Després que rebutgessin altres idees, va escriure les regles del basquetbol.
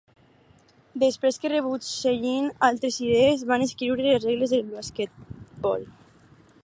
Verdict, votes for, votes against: rejected, 2, 2